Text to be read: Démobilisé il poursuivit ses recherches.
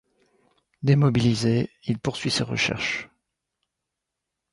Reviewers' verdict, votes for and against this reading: rejected, 1, 2